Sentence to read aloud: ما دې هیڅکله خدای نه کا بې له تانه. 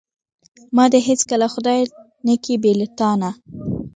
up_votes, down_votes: 2, 0